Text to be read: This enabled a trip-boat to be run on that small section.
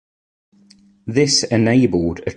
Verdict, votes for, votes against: rejected, 1, 2